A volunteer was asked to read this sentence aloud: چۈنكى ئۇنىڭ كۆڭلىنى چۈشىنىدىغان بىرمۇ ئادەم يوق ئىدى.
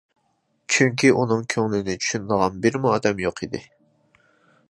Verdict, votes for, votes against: accepted, 2, 0